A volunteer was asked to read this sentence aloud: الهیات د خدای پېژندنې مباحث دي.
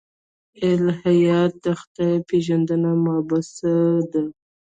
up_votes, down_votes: 1, 2